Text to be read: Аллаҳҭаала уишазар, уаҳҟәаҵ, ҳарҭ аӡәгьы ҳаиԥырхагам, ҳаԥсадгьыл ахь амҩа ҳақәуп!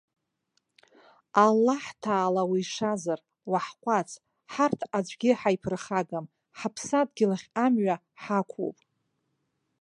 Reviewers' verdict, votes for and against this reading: accepted, 3, 0